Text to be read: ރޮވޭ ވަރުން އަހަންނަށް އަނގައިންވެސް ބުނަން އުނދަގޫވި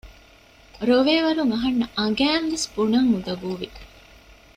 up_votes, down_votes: 2, 0